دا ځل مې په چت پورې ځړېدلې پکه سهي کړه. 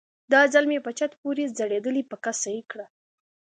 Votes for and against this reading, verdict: 2, 0, accepted